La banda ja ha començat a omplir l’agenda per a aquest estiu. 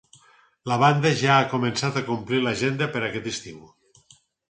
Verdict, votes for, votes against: rejected, 0, 4